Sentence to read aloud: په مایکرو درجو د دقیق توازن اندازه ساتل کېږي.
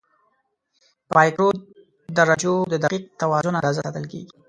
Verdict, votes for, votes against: rejected, 1, 2